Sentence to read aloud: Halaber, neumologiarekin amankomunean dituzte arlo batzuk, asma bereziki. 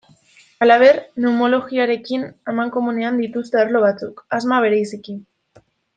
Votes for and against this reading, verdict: 1, 2, rejected